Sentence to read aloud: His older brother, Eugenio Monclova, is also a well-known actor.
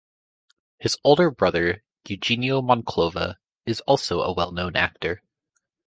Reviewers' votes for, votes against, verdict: 2, 0, accepted